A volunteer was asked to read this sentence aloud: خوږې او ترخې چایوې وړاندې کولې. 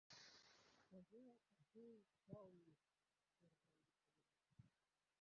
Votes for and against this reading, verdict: 1, 2, rejected